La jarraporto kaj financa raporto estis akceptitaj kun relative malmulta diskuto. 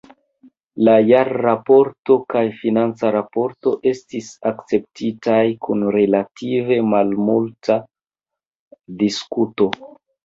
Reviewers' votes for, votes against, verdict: 2, 1, accepted